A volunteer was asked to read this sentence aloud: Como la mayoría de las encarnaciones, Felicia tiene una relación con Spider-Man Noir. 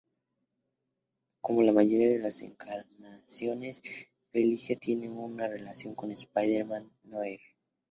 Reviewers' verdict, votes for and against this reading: rejected, 0, 2